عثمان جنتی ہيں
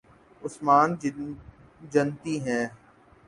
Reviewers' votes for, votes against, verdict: 3, 4, rejected